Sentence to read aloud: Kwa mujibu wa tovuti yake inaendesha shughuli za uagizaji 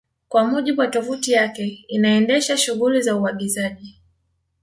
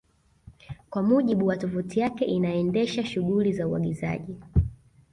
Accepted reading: second